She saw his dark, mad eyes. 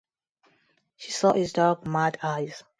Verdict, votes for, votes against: accepted, 2, 0